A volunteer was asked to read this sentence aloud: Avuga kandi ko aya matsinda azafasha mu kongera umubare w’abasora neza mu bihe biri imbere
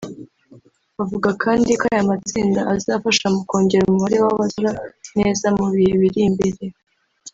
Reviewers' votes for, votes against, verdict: 0, 2, rejected